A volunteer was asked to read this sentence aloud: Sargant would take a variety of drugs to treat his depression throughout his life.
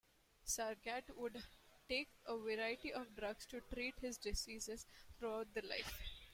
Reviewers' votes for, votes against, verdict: 0, 2, rejected